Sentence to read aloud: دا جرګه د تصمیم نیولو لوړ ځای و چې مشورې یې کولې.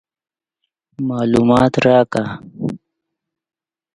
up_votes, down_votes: 0, 2